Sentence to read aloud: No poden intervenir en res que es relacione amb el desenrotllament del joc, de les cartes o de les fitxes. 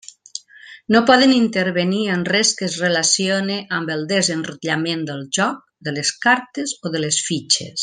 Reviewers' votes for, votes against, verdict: 3, 0, accepted